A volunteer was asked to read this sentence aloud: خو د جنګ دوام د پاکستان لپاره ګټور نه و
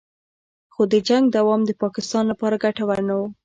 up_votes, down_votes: 0, 2